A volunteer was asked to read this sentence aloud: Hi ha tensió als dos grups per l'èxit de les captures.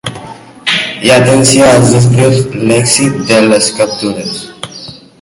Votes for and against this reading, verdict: 0, 2, rejected